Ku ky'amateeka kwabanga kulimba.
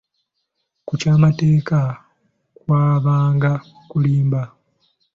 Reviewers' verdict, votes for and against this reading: rejected, 1, 2